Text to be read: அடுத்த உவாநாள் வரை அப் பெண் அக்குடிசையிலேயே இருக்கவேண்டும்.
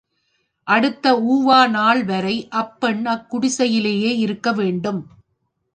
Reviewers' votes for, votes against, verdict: 1, 2, rejected